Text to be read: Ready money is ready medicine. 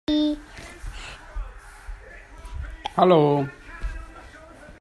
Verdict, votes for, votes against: rejected, 0, 2